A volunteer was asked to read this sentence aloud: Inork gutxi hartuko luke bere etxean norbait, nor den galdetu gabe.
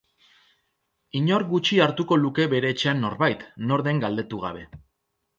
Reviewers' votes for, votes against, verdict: 2, 0, accepted